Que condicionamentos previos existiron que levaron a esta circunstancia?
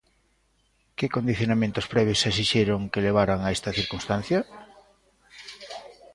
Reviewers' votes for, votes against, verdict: 0, 2, rejected